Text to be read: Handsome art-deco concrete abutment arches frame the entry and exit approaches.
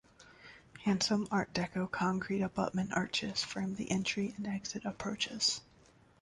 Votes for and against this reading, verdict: 2, 0, accepted